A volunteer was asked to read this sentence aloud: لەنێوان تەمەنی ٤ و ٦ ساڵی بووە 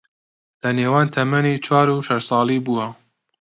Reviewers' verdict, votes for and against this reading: rejected, 0, 2